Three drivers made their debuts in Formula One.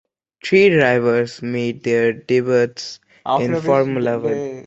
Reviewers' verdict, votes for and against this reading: rejected, 0, 2